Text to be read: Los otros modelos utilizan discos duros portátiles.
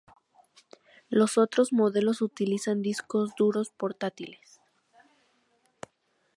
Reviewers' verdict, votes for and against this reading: rejected, 0, 2